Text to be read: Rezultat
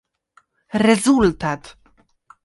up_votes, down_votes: 2, 0